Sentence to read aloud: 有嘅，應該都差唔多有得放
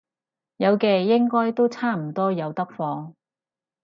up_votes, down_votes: 4, 0